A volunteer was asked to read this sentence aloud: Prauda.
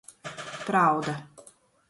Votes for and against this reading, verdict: 1, 2, rejected